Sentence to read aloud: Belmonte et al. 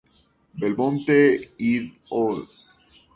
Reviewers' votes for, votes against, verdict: 0, 2, rejected